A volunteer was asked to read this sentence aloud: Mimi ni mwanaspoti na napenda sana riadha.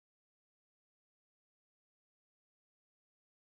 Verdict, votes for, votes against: rejected, 0, 2